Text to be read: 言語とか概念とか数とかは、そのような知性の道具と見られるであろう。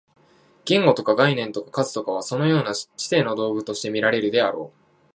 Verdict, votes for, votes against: accepted, 2, 0